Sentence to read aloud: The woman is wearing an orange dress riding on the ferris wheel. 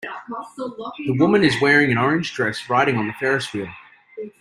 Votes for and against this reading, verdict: 2, 0, accepted